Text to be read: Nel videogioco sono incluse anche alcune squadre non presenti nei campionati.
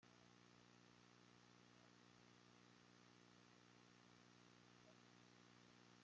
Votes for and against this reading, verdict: 0, 2, rejected